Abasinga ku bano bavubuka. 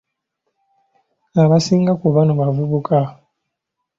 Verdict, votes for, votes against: accepted, 2, 0